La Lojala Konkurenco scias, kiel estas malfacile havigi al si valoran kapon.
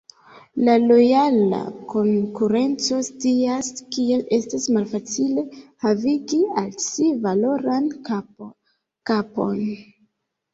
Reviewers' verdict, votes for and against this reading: rejected, 0, 2